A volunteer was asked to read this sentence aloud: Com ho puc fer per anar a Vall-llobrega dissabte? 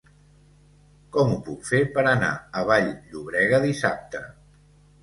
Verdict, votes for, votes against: accepted, 3, 0